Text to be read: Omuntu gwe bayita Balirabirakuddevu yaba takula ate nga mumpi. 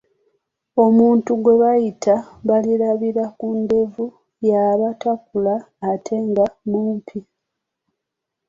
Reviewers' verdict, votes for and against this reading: rejected, 1, 2